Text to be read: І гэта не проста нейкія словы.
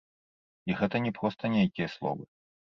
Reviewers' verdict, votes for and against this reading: rejected, 1, 2